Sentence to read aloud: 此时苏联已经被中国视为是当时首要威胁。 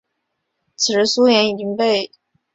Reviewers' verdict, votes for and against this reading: rejected, 0, 3